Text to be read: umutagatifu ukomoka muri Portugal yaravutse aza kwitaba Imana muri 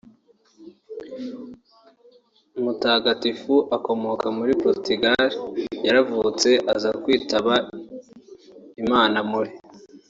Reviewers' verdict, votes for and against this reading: rejected, 2, 4